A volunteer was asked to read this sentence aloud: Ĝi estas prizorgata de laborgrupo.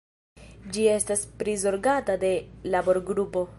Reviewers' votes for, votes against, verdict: 0, 2, rejected